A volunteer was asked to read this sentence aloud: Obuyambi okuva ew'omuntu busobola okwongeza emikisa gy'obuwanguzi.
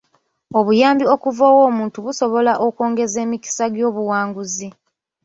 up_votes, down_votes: 1, 2